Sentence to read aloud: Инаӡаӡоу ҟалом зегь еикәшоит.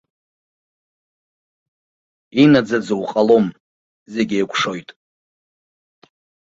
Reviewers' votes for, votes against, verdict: 2, 0, accepted